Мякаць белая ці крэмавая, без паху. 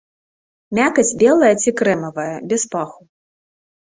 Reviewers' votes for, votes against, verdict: 2, 0, accepted